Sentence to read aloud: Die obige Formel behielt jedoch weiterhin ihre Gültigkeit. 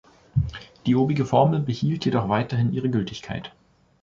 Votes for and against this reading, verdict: 2, 0, accepted